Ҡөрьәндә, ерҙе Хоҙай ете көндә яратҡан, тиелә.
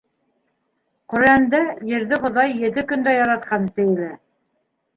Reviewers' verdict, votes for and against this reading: rejected, 0, 2